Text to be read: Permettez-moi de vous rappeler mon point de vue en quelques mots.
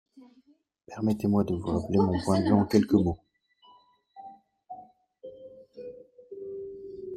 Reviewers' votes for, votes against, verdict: 1, 2, rejected